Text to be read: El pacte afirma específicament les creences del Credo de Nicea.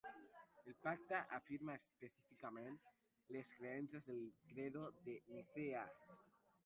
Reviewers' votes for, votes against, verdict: 0, 2, rejected